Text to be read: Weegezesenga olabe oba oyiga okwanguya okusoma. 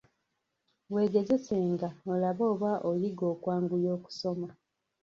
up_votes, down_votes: 0, 2